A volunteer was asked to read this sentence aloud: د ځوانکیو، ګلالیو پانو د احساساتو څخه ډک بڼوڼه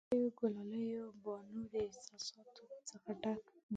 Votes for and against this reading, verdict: 1, 2, rejected